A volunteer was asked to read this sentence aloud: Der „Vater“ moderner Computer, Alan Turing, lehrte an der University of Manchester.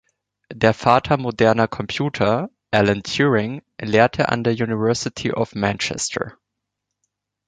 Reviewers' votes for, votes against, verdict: 2, 0, accepted